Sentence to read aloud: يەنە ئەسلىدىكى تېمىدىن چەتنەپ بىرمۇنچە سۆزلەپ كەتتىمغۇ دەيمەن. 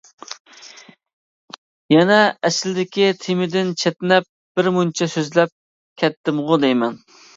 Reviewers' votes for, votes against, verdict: 2, 0, accepted